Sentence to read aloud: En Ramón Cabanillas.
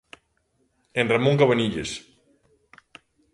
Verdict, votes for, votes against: accepted, 2, 0